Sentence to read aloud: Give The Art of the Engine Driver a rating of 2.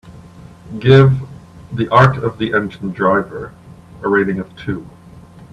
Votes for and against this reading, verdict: 0, 2, rejected